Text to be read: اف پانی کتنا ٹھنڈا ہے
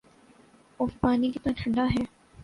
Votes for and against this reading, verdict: 2, 0, accepted